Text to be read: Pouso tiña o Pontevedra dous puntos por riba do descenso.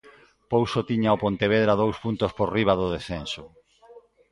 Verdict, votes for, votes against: accepted, 2, 1